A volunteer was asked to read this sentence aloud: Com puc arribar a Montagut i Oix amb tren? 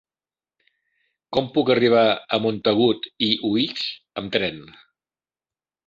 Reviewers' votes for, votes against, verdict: 0, 2, rejected